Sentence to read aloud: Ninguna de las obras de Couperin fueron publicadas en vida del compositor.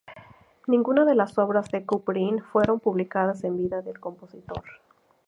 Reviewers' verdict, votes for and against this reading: accepted, 2, 0